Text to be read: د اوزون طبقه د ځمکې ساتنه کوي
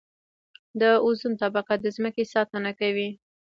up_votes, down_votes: 2, 0